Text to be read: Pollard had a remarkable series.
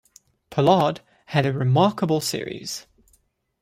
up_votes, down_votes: 2, 0